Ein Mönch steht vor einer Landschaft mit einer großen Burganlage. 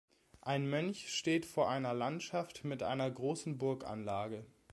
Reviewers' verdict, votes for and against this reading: accepted, 2, 0